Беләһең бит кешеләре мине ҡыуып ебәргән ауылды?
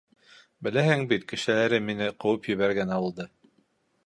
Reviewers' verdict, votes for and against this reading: accepted, 2, 0